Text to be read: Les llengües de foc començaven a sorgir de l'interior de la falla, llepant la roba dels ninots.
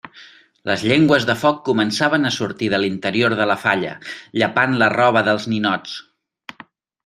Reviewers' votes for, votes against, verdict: 1, 2, rejected